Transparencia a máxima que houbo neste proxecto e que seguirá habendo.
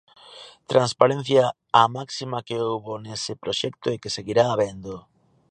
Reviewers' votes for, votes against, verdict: 1, 2, rejected